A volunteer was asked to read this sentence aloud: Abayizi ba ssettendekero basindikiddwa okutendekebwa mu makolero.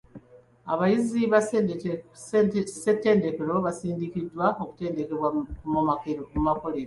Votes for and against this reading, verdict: 1, 2, rejected